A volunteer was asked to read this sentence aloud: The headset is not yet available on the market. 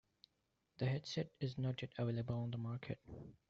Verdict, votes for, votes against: accepted, 2, 0